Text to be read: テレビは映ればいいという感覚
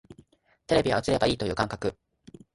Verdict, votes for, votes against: accepted, 2, 0